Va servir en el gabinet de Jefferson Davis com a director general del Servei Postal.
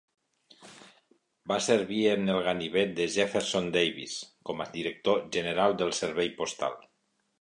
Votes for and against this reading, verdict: 1, 2, rejected